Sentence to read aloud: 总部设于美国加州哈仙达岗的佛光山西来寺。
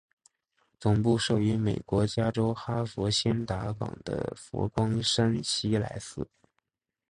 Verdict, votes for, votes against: accepted, 2, 0